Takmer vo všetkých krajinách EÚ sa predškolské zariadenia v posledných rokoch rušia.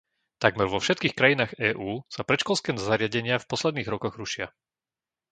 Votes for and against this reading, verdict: 1, 2, rejected